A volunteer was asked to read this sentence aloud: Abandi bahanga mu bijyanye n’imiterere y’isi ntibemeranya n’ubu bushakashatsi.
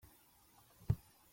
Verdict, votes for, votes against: rejected, 0, 2